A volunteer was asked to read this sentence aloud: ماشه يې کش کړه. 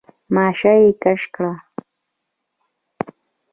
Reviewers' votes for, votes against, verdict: 2, 1, accepted